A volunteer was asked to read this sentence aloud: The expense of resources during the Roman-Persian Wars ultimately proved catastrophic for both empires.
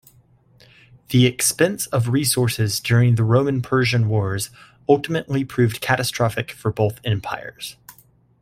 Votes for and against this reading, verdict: 2, 0, accepted